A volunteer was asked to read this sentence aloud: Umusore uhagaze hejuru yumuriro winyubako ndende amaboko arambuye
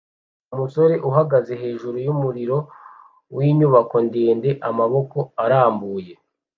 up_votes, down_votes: 2, 0